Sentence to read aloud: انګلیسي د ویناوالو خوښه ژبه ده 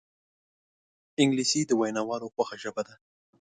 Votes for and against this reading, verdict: 3, 0, accepted